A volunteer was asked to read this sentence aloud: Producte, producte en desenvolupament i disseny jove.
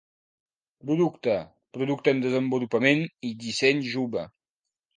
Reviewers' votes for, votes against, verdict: 2, 0, accepted